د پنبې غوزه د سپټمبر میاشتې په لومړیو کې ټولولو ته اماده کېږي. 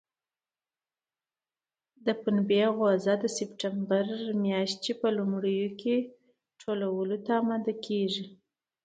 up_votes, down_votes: 2, 0